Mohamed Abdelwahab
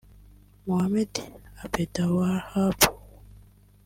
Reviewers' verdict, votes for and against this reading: accepted, 2, 1